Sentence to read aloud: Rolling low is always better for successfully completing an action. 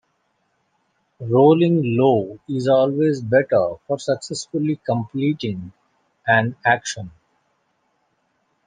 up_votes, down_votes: 2, 0